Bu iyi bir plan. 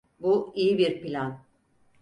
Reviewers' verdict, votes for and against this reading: accepted, 4, 0